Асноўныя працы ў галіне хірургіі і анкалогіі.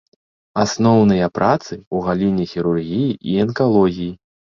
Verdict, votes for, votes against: rejected, 1, 2